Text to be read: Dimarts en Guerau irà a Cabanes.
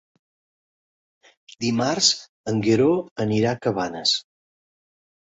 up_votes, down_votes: 0, 2